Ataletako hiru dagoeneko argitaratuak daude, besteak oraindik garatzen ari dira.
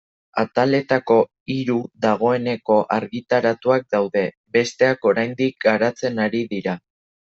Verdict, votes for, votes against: accepted, 2, 0